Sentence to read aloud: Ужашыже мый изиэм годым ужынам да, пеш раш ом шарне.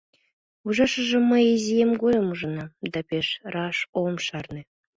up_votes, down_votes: 2, 0